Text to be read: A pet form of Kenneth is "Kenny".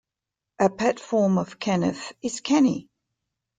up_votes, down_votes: 2, 0